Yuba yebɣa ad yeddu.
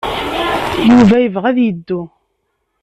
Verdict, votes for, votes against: rejected, 0, 2